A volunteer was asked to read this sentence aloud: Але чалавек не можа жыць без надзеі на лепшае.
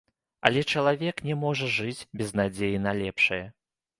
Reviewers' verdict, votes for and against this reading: accepted, 2, 0